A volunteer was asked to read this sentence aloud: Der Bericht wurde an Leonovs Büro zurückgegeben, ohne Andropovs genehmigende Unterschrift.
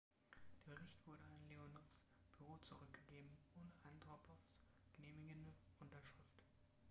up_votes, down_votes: 2, 3